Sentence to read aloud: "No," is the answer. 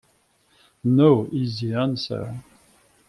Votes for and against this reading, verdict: 0, 2, rejected